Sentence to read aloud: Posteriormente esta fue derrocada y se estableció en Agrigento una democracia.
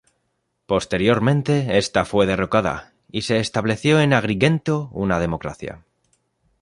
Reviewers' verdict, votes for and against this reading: accepted, 2, 0